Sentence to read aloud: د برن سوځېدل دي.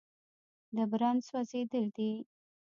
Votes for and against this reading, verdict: 1, 2, rejected